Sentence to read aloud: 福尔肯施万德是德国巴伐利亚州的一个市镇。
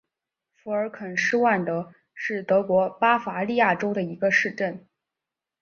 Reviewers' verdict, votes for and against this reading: accepted, 3, 0